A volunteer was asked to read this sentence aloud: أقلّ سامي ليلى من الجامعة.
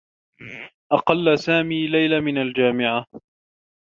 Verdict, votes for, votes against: accepted, 2, 0